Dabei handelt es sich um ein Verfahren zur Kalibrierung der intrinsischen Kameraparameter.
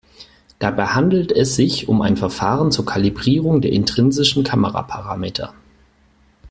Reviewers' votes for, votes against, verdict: 4, 0, accepted